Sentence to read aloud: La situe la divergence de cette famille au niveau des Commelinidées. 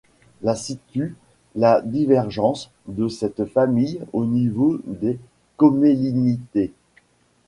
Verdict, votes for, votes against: accepted, 2, 0